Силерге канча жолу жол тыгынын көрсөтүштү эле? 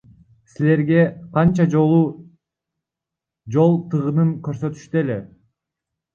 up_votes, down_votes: 1, 2